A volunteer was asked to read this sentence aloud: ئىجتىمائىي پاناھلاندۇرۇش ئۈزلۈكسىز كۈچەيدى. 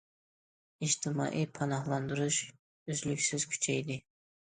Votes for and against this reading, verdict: 2, 0, accepted